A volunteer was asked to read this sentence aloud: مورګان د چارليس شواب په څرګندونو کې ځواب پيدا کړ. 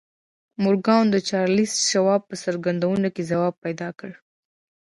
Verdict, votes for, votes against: rejected, 1, 2